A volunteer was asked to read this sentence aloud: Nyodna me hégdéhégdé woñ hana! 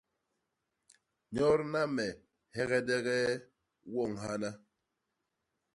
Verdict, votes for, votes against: rejected, 0, 2